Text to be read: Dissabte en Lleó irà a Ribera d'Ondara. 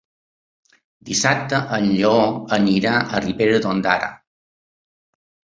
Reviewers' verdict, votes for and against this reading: rejected, 0, 4